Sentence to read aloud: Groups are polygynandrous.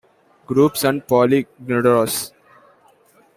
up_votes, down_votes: 0, 2